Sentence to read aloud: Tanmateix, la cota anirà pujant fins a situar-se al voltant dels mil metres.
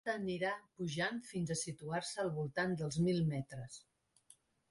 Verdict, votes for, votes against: rejected, 0, 2